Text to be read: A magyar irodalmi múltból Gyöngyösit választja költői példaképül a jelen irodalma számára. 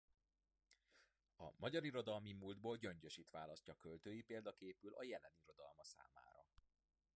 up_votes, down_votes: 0, 2